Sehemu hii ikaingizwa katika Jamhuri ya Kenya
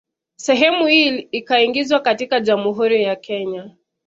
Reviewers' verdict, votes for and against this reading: accepted, 2, 0